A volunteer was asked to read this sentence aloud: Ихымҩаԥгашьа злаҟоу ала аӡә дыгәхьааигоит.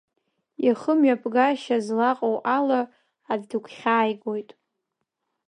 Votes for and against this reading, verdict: 2, 0, accepted